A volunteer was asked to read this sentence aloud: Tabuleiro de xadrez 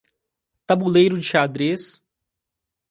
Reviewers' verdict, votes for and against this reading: accepted, 2, 0